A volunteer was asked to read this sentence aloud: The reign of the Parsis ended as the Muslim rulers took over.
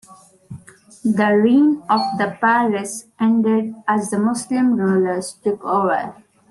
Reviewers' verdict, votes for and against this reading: rejected, 0, 2